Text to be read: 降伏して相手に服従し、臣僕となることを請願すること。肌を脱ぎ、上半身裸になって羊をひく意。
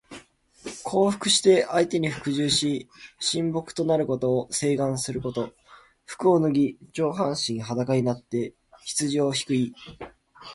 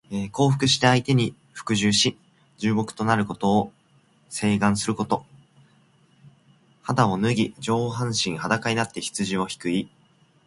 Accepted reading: second